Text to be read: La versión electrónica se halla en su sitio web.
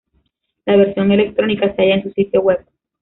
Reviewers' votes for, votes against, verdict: 1, 2, rejected